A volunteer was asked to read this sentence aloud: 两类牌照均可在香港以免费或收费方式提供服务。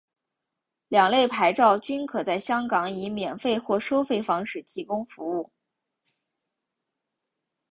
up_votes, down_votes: 2, 0